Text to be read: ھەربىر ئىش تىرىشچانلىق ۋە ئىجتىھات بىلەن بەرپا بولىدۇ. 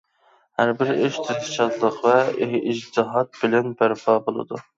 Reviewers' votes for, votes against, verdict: 1, 2, rejected